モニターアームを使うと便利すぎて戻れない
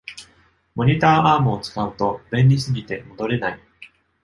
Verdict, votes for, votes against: accepted, 2, 0